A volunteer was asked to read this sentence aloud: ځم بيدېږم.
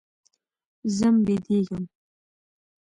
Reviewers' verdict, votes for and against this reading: accepted, 2, 0